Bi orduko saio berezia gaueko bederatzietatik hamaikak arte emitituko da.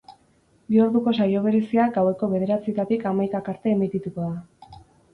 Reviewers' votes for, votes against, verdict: 4, 0, accepted